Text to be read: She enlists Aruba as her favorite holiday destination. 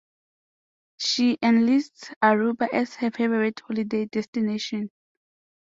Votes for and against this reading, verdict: 2, 0, accepted